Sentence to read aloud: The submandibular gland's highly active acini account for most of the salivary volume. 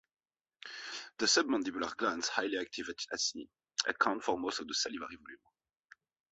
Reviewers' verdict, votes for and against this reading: rejected, 1, 2